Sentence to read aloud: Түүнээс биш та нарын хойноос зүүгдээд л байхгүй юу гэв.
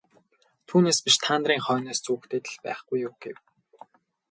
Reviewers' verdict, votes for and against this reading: rejected, 0, 2